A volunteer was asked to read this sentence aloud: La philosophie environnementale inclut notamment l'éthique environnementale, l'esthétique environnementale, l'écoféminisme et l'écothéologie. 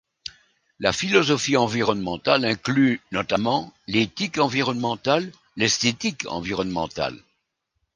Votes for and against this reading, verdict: 0, 2, rejected